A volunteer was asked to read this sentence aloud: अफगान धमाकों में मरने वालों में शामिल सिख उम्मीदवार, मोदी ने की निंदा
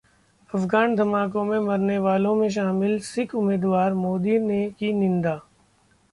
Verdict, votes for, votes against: accepted, 2, 0